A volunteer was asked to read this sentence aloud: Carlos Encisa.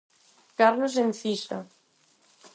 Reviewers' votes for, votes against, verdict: 4, 0, accepted